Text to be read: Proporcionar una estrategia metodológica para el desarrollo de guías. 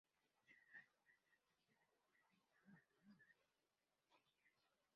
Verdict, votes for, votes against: rejected, 0, 2